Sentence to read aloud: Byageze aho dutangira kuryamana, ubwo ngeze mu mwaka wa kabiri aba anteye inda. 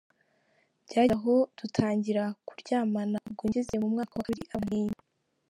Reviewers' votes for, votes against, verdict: 1, 2, rejected